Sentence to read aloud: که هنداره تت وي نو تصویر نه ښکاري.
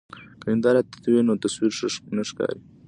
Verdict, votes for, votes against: rejected, 1, 2